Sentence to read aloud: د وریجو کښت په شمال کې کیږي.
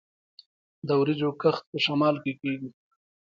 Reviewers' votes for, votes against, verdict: 1, 2, rejected